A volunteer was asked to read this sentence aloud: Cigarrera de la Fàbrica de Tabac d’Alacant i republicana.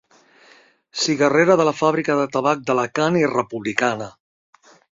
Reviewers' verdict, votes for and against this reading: accepted, 2, 0